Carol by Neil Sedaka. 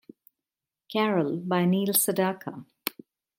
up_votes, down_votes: 2, 0